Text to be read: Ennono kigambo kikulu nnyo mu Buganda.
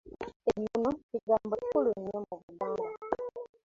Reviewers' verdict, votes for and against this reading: rejected, 0, 2